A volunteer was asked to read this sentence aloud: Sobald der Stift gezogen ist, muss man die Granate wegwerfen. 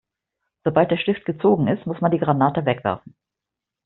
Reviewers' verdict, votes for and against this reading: accepted, 2, 0